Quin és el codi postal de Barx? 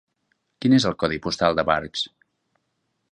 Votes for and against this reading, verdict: 3, 0, accepted